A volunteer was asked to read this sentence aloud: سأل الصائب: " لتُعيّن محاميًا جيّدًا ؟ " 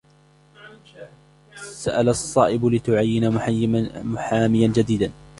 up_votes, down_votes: 0, 2